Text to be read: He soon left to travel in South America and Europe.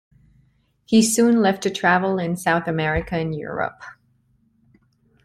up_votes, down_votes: 2, 0